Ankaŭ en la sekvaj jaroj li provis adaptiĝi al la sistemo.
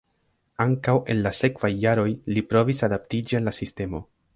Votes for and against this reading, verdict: 2, 1, accepted